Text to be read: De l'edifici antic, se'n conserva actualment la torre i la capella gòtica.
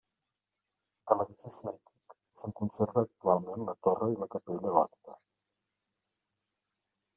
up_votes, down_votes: 0, 2